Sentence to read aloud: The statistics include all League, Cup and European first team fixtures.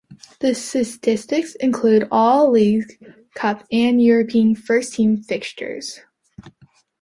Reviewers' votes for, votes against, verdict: 0, 2, rejected